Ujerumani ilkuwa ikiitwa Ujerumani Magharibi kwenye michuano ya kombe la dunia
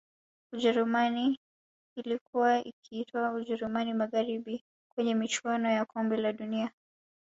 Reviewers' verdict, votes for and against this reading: accepted, 2, 1